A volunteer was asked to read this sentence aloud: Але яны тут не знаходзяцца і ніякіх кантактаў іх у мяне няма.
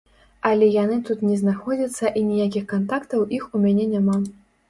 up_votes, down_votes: 3, 0